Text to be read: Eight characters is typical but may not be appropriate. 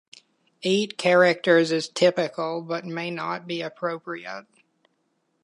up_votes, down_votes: 2, 0